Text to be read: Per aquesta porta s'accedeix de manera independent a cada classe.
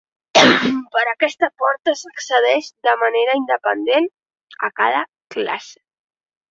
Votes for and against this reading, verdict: 1, 2, rejected